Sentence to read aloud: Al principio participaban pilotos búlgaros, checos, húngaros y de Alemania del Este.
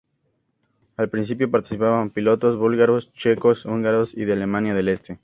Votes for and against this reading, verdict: 2, 0, accepted